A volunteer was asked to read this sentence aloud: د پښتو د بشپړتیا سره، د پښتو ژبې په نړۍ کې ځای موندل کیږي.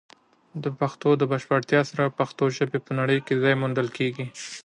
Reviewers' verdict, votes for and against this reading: accepted, 2, 0